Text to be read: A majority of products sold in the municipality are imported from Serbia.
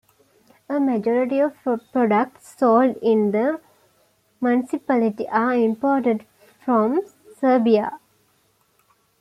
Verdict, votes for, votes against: rejected, 0, 2